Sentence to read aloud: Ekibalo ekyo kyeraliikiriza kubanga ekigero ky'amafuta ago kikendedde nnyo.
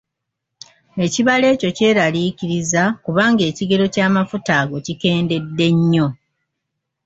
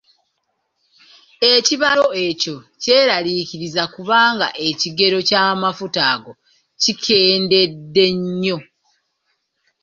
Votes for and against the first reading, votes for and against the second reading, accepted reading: 2, 0, 1, 2, first